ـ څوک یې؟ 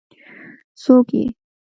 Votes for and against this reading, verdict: 2, 0, accepted